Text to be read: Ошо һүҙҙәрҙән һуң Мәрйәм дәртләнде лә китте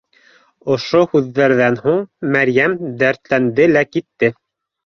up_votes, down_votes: 2, 1